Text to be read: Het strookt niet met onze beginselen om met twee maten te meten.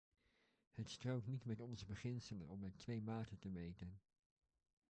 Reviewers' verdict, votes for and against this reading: rejected, 1, 2